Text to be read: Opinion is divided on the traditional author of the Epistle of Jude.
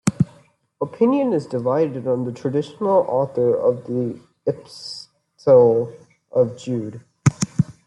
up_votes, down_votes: 1, 2